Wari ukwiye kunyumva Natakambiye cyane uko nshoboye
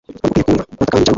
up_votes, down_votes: 1, 2